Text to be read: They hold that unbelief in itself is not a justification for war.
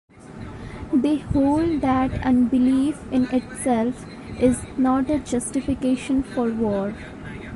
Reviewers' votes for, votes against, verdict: 2, 0, accepted